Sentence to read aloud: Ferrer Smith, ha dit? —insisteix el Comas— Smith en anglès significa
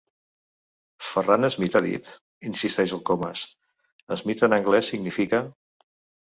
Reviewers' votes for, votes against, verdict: 2, 1, accepted